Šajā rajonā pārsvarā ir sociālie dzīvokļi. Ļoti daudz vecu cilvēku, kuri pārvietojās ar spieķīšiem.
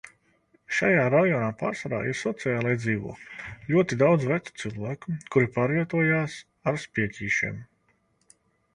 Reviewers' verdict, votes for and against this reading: accepted, 2, 0